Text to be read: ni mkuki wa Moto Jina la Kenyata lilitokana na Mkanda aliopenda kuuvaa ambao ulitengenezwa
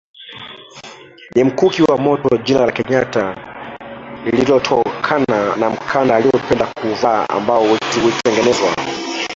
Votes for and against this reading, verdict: 0, 2, rejected